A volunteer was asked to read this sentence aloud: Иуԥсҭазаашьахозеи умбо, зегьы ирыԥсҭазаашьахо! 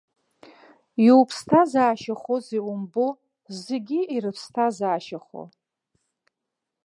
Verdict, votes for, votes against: accepted, 2, 0